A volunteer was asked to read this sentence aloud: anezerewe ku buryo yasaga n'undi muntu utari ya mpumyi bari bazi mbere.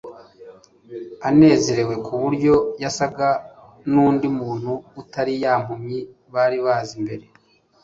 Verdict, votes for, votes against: accepted, 2, 0